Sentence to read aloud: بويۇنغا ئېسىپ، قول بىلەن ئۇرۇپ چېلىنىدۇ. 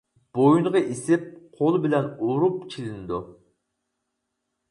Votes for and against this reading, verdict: 4, 0, accepted